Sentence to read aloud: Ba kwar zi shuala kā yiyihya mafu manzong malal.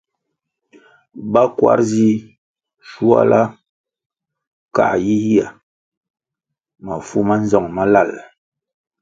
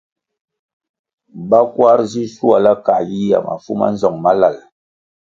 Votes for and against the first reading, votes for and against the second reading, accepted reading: 0, 2, 2, 0, second